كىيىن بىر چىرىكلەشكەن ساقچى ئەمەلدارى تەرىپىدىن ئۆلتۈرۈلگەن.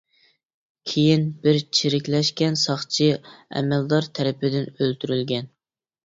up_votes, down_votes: 1, 2